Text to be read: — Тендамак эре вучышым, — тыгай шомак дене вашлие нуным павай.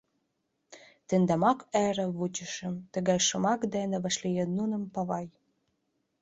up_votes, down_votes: 0, 2